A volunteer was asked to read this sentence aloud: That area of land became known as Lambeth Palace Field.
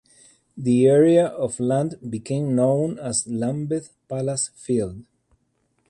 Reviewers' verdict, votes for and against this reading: rejected, 0, 2